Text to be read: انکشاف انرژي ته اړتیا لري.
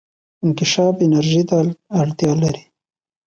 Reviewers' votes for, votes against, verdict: 3, 0, accepted